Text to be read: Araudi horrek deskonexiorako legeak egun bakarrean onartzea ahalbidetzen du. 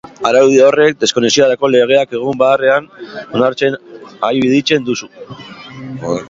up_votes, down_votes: 2, 3